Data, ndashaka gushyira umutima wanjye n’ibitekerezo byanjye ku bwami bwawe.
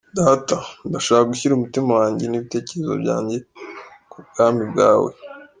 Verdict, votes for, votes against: rejected, 1, 2